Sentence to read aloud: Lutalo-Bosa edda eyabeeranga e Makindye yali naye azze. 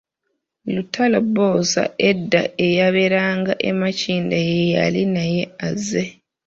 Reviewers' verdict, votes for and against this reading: rejected, 0, 2